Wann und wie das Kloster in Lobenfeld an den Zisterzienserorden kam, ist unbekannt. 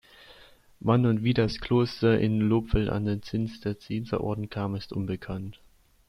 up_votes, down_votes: 0, 2